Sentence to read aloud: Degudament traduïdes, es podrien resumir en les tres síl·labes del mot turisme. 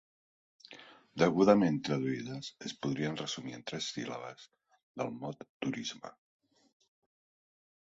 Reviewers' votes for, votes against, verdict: 1, 2, rejected